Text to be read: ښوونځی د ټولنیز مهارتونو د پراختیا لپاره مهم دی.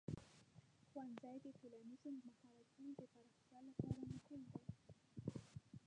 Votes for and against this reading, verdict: 0, 2, rejected